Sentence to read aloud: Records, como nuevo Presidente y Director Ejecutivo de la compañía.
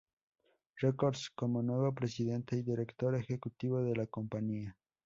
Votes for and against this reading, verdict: 2, 0, accepted